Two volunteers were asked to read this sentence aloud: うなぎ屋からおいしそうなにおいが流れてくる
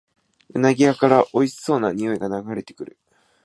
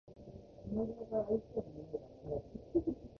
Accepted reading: first